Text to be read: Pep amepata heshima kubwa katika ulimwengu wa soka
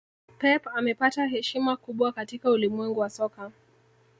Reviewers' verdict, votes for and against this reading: rejected, 0, 2